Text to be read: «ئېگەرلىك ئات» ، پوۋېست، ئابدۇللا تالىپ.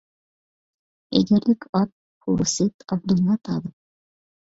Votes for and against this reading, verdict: 1, 2, rejected